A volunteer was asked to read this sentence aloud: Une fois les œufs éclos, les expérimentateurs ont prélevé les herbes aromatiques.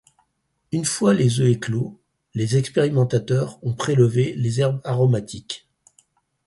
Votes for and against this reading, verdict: 0, 4, rejected